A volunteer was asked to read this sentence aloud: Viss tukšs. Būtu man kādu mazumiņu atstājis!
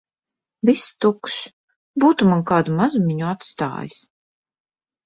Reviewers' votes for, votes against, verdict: 2, 0, accepted